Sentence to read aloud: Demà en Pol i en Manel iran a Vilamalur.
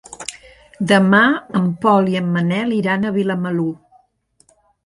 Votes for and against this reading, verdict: 3, 0, accepted